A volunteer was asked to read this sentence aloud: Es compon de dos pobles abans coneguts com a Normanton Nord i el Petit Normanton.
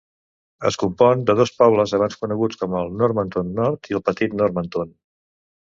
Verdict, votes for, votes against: accepted, 2, 1